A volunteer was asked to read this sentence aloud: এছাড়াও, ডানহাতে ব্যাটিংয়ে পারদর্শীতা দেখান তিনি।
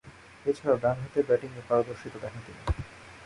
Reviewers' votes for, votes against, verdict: 1, 2, rejected